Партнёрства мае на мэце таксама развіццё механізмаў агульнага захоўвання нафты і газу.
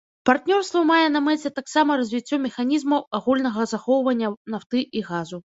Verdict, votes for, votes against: rejected, 0, 2